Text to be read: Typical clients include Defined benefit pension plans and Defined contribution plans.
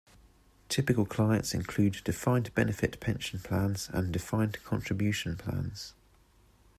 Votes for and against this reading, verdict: 2, 1, accepted